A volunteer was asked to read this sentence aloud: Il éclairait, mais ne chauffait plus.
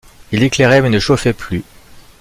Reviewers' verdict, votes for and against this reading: accepted, 2, 0